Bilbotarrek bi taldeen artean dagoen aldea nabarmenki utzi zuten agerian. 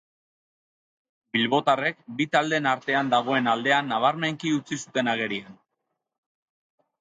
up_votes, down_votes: 2, 2